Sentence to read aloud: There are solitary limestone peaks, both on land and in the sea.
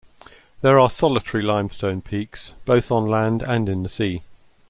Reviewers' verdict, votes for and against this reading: accepted, 2, 0